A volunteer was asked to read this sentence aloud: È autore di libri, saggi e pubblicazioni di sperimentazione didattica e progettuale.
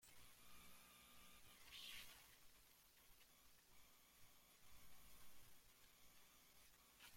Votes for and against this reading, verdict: 0, 2, rejected